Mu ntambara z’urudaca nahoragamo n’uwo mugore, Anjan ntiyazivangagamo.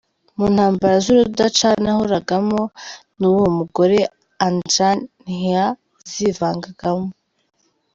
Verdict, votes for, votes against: rejected, 0, 2